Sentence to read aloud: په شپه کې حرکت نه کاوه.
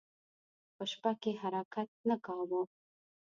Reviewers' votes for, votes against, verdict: 2, 0, accepted